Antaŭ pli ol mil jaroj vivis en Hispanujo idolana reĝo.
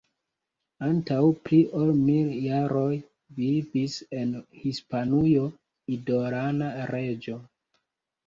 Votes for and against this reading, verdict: 2, 1, accepted